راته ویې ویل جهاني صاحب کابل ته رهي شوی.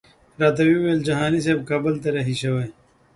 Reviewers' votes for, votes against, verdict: 2, 0, accepted